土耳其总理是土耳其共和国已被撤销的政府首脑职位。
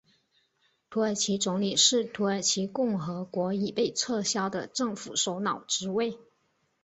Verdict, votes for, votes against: rejected, 1, 2